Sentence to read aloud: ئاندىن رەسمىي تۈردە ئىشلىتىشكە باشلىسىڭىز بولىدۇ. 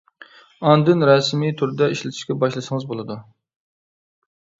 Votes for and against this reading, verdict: 2, 0, accepted